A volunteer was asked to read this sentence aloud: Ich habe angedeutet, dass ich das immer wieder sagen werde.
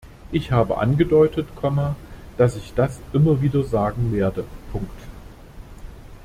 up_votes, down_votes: 0, 2